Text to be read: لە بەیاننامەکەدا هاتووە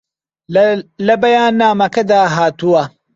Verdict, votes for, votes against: rejected, 0, 2